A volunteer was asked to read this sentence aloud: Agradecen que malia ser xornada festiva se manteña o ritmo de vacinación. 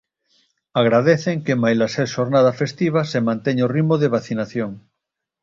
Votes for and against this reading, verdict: 1, 2, rejected